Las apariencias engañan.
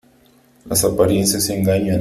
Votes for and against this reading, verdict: 3, 0, accepted